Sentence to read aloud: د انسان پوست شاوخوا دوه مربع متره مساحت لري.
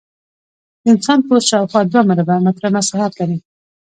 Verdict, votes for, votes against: accepted, 2, 0